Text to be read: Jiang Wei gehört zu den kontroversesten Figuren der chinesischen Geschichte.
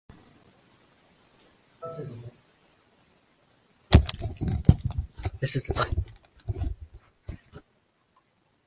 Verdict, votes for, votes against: rejected, 0, 2